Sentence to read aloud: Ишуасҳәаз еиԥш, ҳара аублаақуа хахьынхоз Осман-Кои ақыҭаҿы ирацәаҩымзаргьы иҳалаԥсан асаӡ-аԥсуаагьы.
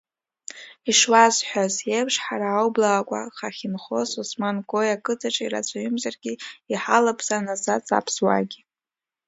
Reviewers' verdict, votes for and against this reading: accepted, 2, 1